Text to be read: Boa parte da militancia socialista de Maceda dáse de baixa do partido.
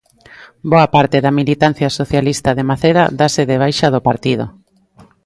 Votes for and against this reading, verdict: 2, 0, accepted